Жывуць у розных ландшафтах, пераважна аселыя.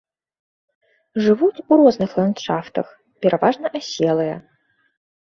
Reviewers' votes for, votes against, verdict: 3, 0, accepted